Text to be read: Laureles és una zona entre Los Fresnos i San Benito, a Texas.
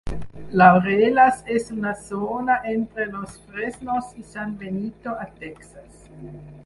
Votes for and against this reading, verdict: 6, 8, rejected